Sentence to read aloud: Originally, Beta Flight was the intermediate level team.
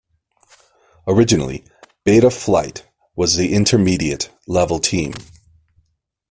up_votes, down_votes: 2, 0